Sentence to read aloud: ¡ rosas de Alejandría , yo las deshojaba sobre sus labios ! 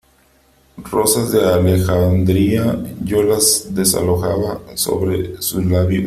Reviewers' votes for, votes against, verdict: 0, 2, rejected